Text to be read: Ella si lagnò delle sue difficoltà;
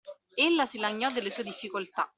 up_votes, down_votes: 2, 0